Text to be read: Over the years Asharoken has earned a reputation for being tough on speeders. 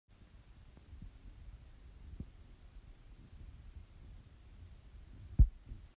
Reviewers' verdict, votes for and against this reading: rejected, 0, 2